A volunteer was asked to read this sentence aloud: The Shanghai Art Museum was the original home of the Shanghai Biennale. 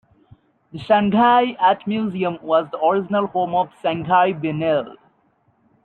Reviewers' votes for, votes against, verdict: 1, 2, rejected